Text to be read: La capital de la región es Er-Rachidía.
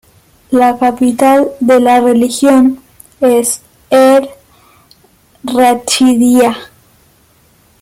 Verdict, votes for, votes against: rejected, 0, 2